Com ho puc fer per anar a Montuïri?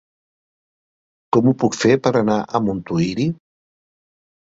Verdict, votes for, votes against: accepted, 2, 0